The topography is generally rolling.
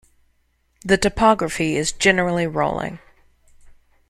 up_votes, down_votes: 3, 0